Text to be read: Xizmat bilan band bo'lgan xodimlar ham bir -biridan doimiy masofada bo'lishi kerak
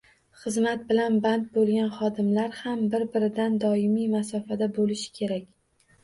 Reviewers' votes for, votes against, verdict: 2, 0, accepted